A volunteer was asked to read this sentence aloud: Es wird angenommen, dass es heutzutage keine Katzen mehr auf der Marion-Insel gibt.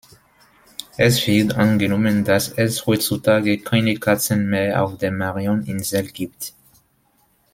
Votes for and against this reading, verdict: 2, 0, accepted